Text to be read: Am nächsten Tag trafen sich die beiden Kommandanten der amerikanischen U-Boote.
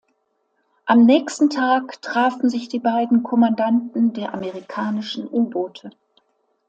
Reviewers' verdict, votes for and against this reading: accepted, 2, 0